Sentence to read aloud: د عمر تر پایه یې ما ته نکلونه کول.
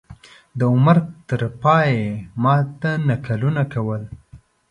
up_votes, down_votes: 1, 2